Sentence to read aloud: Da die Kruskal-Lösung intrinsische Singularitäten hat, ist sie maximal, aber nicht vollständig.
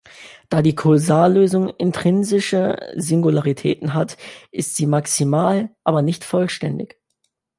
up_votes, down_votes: 0, 2